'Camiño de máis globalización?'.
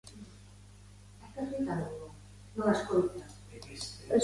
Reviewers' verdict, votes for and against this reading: rejected, 0, 2